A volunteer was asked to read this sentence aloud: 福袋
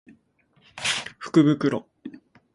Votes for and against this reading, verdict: 2, 0, accepted